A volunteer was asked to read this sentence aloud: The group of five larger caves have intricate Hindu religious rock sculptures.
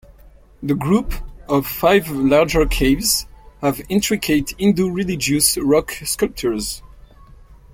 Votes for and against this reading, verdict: 2, 0, accepted